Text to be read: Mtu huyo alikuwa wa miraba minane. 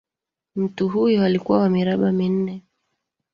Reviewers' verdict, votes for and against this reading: accepted, 2, 1